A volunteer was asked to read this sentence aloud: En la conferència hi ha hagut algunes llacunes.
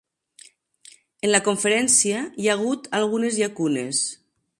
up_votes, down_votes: 3, 0